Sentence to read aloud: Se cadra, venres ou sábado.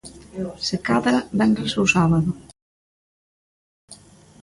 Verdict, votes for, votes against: rejected, 1, 2